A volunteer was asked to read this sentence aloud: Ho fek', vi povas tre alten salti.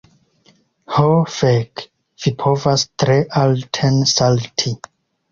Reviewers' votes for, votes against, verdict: 2, 0, accepted